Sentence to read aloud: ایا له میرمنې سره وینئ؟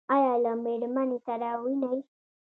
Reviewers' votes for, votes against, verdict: 0, 2, rejected